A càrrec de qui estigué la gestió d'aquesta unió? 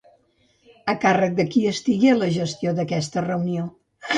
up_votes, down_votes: 1, 2